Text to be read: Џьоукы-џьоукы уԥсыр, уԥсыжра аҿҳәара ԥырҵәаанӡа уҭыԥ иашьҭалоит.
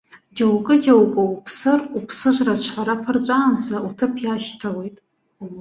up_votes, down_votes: 3, 0